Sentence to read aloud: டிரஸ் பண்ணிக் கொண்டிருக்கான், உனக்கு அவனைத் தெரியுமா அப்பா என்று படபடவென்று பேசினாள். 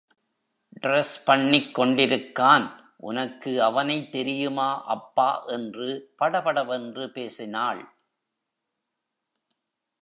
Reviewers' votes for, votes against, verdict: 0, 2, rejected